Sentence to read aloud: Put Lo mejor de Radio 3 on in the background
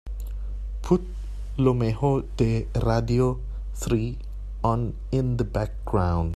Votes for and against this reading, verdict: 0, 2, rejected